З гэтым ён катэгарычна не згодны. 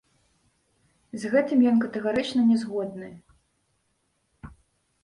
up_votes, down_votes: 3, 0